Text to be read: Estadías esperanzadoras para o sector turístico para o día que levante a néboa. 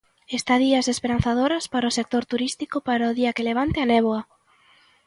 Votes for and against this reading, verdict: 2, 0, accepted